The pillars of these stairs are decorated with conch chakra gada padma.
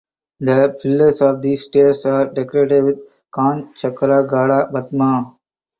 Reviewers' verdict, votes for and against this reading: rejected, 2, 4